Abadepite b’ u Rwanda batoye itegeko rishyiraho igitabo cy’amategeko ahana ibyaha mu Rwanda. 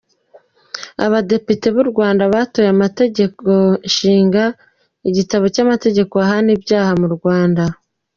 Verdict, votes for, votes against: rejected, 0, 2